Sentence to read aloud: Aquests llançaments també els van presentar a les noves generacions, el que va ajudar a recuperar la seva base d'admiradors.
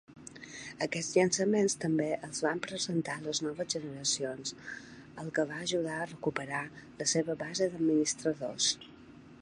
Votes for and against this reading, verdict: 1, 2, rejected